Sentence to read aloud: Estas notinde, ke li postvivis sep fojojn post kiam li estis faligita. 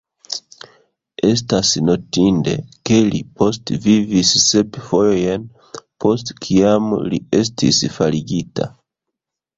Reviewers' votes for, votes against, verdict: 1, 2, rejected